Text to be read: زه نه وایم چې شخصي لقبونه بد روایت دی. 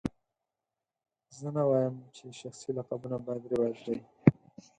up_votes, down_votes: 0, 4